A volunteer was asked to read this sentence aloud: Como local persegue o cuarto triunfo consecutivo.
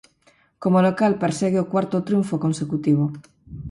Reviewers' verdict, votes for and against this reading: accepted, 4, 0